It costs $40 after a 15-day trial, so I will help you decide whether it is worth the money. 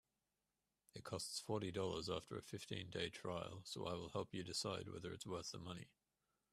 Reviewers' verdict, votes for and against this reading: rejected, 0, 2